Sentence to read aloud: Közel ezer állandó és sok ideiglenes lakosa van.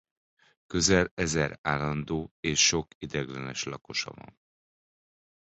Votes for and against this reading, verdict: 2, 1, accepted